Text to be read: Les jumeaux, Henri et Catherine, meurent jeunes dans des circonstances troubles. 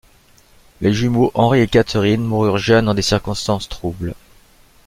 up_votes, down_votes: 0, 2